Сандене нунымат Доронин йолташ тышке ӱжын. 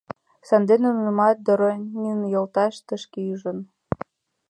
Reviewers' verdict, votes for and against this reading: accepted, 2, 0